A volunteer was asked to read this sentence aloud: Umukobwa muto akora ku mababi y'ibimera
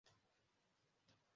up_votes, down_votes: 0, 2